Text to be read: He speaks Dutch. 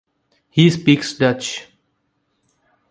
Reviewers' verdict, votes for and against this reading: accepted, 2, 0